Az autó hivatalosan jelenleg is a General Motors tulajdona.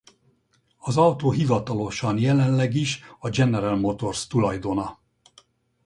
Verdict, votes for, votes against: rejected, 2, 2